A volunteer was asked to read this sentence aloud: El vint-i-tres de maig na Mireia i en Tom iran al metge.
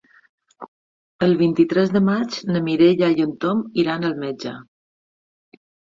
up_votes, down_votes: 3, 0